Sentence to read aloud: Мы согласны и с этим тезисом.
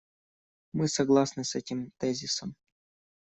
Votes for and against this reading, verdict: 1, 2, rejected